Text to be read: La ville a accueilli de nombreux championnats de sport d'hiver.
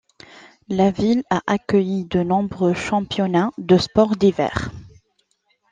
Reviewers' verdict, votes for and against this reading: accepted, 3, 0